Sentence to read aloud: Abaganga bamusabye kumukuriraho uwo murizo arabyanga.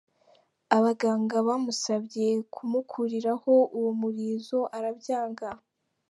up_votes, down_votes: 3, 1